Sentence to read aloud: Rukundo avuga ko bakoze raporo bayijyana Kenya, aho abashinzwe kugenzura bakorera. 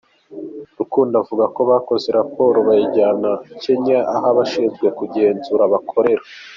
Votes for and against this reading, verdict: 2, 0, accepted